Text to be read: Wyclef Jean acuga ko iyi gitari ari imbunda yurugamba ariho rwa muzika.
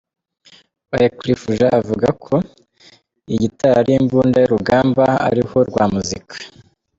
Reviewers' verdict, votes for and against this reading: accepted, 2, 0